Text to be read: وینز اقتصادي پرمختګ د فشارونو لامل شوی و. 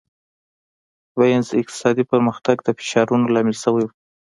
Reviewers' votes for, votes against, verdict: 2, 0, accepted